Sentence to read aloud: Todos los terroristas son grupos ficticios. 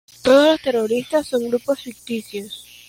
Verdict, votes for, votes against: rejected, 0, 2